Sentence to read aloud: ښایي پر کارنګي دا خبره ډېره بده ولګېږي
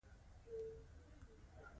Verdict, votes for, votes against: accepted, 2, 0